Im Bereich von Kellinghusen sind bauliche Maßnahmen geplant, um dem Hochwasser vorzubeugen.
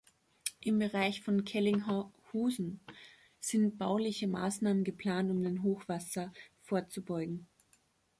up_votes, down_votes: 0, 2